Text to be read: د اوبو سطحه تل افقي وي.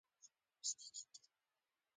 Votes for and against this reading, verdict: 0, 2, rejected